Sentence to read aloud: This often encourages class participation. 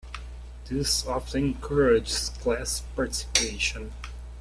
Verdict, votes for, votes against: rejected, 0, 2